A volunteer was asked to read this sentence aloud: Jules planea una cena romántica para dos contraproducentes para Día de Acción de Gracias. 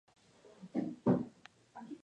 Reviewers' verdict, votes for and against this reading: rejected, 0, 2